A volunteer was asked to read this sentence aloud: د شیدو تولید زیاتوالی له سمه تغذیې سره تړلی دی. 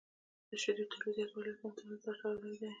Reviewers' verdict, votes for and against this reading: rejected, 1, 2